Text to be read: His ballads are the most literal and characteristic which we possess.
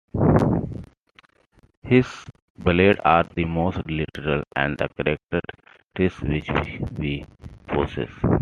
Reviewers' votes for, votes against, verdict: 2, 1, accepted